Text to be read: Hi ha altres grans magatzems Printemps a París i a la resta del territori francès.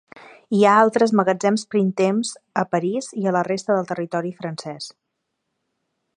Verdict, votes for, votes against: rejected, 1, 2